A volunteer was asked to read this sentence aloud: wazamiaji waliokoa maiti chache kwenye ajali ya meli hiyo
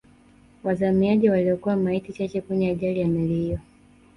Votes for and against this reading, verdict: 1, 2, rejected